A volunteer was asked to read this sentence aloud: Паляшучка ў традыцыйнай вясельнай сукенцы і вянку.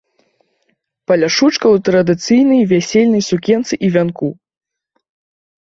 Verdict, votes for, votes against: accepted, 3, 0